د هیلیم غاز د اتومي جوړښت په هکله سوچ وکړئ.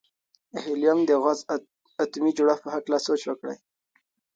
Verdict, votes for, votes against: accepted, 2, 1